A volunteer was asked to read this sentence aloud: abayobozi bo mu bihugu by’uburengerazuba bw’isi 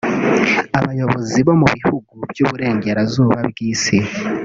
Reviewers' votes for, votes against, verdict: 0, 2, rejected